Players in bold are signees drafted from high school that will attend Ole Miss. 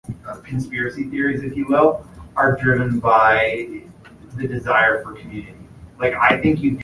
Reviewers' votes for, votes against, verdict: 0, 2, rejected